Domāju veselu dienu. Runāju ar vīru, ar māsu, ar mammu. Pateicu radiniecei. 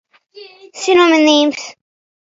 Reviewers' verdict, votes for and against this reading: rejected, 0, 2